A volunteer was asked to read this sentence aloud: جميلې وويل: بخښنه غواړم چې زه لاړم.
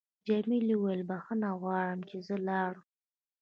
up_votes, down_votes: 0, 2